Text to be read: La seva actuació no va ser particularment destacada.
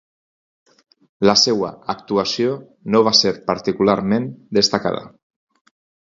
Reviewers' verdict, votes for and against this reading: accepted, 4, 0